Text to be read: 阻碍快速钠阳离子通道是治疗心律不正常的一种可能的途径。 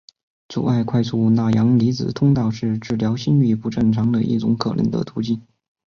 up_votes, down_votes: 2, 1